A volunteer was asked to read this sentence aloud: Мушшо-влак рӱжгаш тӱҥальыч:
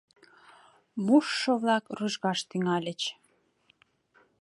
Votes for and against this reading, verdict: 2, 0, accepted